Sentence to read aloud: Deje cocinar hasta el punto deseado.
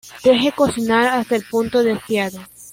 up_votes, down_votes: 1, 2